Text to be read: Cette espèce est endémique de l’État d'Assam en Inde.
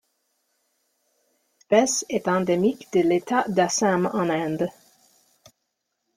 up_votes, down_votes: 2, 1